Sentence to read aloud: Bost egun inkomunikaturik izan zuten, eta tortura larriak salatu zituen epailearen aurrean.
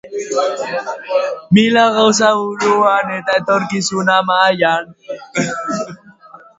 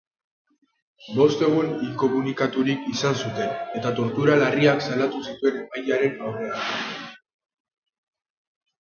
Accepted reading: second